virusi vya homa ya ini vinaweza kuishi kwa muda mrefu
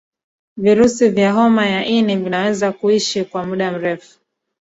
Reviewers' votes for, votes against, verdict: 1, 2, rejected